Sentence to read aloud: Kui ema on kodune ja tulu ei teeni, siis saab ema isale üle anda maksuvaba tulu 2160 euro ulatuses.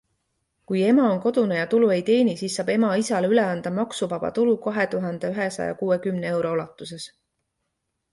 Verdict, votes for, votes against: rejected, 0, 2